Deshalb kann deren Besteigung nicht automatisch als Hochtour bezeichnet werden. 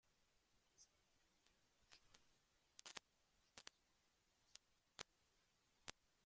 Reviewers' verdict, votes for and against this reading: rejected, 0, 2